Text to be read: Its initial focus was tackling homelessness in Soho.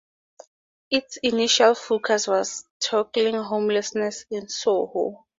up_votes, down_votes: 2, 12